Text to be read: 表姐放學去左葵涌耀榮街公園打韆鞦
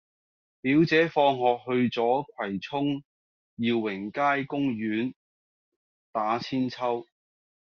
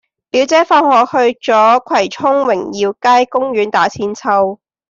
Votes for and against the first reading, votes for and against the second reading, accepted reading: 2, 0, 1, 2, first